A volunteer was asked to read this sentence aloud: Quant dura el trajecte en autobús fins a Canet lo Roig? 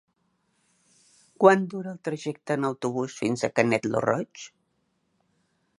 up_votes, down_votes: 2, 0